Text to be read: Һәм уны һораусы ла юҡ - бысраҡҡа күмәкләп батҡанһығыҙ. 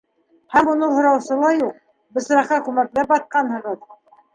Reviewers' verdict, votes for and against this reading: accepted, 2, 1